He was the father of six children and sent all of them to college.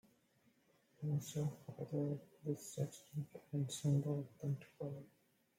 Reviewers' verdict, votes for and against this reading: rejected, 0, 2